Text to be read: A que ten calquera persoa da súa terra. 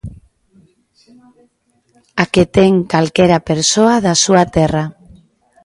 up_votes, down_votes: 2, 0